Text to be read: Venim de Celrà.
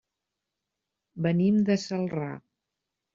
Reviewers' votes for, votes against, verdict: 3, 0, accepted